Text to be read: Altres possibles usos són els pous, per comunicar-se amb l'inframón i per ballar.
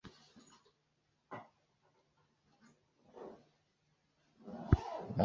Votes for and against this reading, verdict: 0, 2, rejected